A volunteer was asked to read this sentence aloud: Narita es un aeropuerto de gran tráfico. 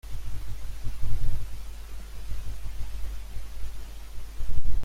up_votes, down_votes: 0, 2